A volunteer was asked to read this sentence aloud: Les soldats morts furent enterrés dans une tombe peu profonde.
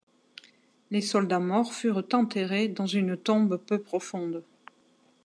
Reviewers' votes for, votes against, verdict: 2, 0, accepted